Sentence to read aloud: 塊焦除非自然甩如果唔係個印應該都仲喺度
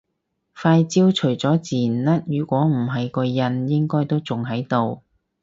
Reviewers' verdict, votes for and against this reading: rejected, 2, 4